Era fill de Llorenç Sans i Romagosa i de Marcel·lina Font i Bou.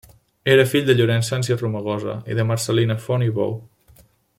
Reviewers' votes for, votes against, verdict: 2, 0, accepted